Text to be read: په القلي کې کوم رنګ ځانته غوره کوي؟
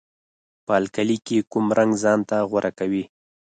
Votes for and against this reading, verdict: 4, 0, accepted